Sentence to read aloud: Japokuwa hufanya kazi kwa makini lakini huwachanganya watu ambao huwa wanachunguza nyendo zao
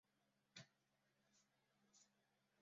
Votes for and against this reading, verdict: 0, 2, rejected